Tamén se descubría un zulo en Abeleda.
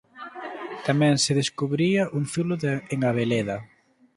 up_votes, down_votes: 2, 3